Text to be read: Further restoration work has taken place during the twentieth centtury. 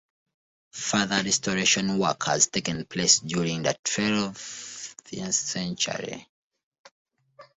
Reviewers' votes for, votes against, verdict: 1, 2, rejected